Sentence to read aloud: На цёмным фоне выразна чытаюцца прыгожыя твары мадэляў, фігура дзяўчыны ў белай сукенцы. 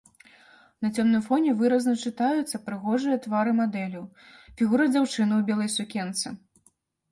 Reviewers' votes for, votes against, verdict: 0, 2, rejected